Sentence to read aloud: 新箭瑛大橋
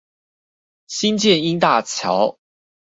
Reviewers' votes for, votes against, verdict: 0, 2, rejected